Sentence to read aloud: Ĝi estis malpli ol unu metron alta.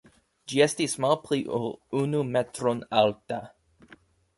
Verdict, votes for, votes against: accepted, 2, 0